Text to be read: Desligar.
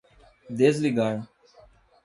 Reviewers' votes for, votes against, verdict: 2, 0, accepted